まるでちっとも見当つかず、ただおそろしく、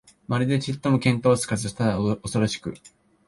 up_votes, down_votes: 3, 0